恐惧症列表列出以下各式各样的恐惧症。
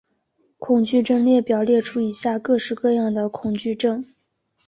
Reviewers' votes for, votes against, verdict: 4, 2, accepted